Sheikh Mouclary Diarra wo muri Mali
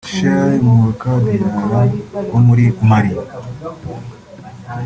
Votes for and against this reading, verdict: 1, 2, rejected